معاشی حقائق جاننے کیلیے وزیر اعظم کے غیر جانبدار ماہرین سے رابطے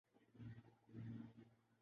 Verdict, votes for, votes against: rejected, 0, 2